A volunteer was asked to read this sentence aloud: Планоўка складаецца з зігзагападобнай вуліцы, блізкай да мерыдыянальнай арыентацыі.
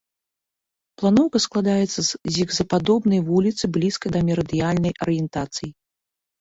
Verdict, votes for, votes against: rejected, 0, 2